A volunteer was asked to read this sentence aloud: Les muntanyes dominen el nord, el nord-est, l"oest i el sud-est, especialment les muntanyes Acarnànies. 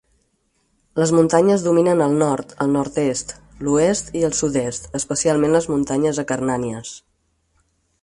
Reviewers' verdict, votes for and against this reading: accepted, 6, 0